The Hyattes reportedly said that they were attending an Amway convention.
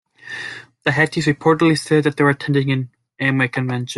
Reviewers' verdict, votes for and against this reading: rejected, 1, 2